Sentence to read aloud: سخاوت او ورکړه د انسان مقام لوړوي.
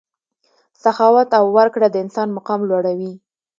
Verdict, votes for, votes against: accepted, 2, 0